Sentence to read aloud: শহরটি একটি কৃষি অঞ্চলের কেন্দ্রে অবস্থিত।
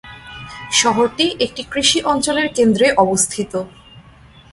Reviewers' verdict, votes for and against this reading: accepted, 2, 0